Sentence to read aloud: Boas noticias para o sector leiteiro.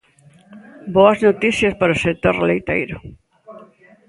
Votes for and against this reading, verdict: 1, 2, rejected